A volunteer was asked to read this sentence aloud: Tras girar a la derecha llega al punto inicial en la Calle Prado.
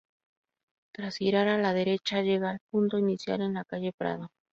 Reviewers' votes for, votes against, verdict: 2, 0, accepted